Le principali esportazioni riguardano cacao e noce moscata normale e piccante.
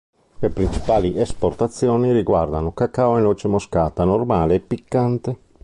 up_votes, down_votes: 0, 2